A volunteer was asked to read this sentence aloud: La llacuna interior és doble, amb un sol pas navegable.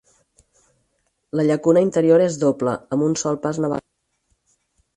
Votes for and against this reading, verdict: 0, 4, rejected